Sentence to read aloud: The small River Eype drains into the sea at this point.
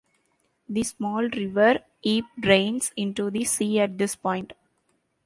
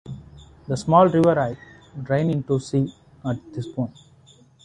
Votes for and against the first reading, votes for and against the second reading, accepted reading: 2, 1, 0, 2, first